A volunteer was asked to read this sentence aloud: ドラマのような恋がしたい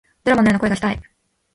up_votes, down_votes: 2, 0